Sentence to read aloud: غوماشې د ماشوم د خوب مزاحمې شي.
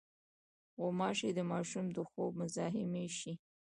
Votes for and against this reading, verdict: 2, 0, accepted